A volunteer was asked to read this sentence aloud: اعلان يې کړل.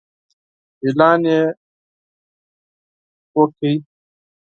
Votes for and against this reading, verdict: 0, 4, rejected